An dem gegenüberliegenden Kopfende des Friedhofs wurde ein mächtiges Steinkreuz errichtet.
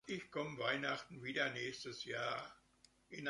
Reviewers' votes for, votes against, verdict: 0, 2, rejected